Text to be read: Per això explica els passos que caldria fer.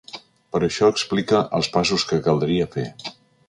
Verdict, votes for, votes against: accepted, 3, 0